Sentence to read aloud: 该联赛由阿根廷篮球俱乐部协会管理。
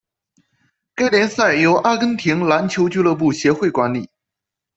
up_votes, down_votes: 2, 0